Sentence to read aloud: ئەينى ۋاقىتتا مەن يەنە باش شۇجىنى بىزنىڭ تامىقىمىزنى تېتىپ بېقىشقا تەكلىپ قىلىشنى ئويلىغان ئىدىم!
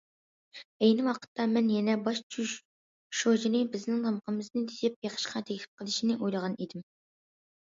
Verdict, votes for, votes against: rejected, 0, 2